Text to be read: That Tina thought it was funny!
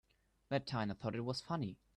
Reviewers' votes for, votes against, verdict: 0, 2, rejected